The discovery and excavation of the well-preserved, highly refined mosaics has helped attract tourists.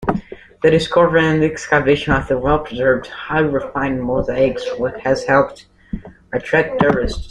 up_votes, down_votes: 2, 0